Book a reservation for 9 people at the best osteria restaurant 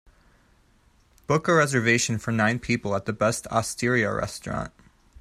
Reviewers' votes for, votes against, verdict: 0, 2, rejected